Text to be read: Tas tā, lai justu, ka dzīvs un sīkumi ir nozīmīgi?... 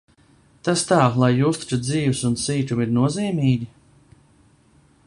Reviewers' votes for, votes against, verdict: 2, 0, accepted